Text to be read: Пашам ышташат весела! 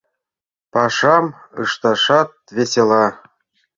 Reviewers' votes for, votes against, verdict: 2, 0, accepted